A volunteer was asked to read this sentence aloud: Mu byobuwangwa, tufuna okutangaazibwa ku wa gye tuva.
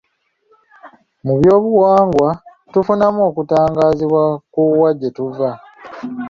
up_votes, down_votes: 1, 2